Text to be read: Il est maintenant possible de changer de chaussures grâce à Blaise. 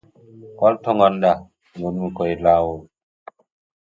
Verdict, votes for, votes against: rejected, 0, 2